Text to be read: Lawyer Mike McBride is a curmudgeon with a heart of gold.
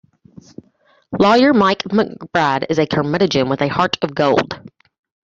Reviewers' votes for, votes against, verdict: 2, 1, accepted